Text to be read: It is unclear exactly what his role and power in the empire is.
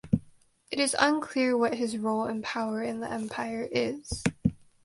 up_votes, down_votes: 0, 2